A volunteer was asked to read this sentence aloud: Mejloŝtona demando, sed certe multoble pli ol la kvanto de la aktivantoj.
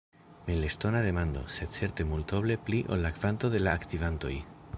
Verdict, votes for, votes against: rejected, 1, 2